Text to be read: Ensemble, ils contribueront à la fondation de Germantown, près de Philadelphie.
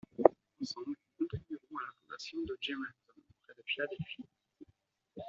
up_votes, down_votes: 0, 2